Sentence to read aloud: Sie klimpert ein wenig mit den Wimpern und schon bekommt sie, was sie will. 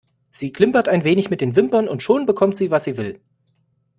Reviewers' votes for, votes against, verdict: 2, 0, accepted